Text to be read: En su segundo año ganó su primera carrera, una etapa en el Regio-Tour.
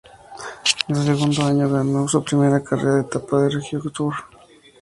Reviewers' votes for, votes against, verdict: 0, 2, rejected